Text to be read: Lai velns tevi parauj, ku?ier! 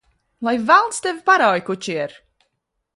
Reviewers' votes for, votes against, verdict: 1, 2, rejected